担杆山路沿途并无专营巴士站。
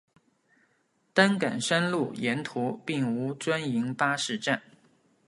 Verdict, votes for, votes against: accepted, 3, 0